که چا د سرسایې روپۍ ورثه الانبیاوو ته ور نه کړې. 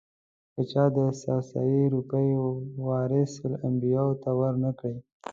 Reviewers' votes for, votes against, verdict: 1, 2, rejected